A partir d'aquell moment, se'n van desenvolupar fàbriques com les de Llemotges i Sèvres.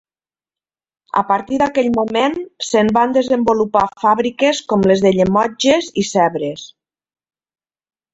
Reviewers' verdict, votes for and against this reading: rejected, 1, 2